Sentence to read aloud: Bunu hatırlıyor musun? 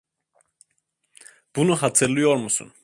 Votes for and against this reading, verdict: 2, 0, accepted